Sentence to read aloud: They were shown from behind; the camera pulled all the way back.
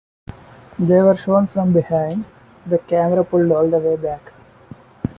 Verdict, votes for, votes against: accepted, 2, 0